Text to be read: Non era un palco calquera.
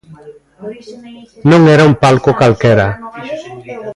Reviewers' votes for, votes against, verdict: 1, 3, rejected